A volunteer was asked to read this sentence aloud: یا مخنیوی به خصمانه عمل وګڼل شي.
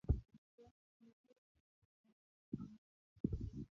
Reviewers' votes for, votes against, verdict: 2, 0, accepted